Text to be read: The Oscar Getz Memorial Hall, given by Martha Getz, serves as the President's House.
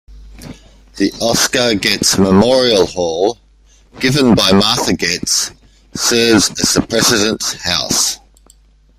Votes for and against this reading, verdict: 1, 2, rejected